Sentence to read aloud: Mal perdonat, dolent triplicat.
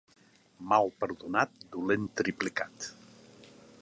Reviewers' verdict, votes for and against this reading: accepted, 2, 0